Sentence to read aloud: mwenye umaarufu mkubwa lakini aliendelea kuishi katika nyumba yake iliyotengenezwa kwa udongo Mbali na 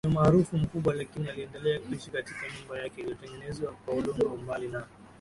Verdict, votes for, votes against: accepted, 3, 1